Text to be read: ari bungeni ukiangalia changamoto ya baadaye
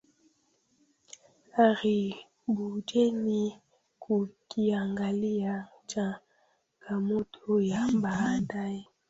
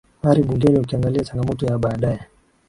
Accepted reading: second